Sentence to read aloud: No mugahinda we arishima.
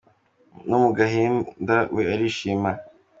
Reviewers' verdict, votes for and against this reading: accepted, 2, 0